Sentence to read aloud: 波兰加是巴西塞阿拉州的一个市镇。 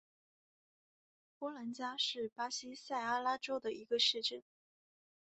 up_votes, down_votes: 4, 0